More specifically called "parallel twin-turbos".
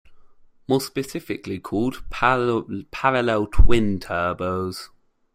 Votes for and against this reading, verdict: 0, 2, rejected